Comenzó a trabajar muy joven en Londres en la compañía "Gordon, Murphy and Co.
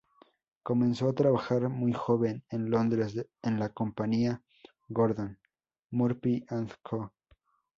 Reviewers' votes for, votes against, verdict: 2, 2, rejected